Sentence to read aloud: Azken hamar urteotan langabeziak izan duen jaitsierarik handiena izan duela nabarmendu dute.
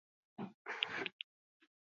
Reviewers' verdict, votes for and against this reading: rejected, 0, 2